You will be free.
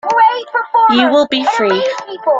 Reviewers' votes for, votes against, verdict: 1, 2, rejected